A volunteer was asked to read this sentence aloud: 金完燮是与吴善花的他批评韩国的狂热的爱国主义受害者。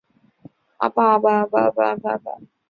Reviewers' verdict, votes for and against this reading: rejected, 1, 3